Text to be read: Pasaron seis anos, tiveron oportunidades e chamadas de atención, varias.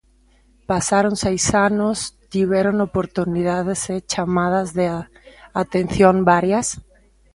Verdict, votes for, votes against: rejected, 0, 2